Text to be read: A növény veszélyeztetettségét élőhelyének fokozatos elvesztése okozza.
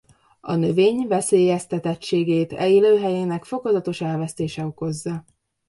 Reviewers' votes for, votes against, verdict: 0, 2, rejected